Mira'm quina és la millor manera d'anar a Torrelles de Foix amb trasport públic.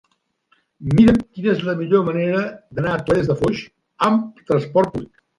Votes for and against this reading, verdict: 0, 2, rejected